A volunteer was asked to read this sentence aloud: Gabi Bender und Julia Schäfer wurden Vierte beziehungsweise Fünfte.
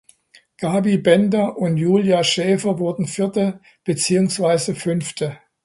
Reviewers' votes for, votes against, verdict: 2, 0, accepted